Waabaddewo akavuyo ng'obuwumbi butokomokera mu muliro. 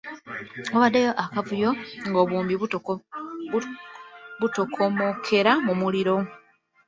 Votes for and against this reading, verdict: 1, 2, rejected